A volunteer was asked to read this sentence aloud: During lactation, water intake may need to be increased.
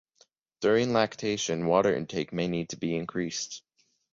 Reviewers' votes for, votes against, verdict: 3, 0, accepted